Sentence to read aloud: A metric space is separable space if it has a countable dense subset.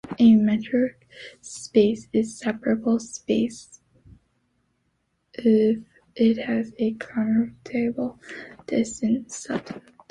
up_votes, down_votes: 1, 2